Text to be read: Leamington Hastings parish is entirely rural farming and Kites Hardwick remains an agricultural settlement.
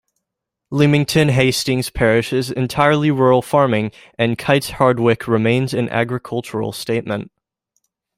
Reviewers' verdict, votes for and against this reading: rejected, 0, 2